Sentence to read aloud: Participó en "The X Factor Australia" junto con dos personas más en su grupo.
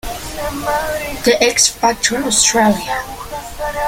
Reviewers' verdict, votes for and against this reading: rejected, 1, 2